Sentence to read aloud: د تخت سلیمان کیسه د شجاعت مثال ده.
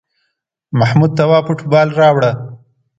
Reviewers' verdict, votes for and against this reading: rejected, 1, 2